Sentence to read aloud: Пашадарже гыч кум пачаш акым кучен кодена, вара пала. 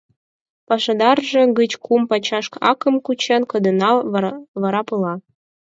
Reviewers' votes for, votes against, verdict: 2, 4, rejected